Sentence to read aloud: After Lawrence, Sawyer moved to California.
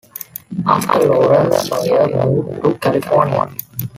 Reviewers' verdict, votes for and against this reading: rejected, 0, 2